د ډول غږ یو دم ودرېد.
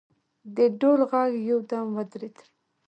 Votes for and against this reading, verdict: 1, 2, rejected